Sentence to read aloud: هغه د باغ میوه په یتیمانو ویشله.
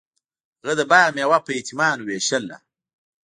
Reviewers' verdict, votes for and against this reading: accepted, 2, 1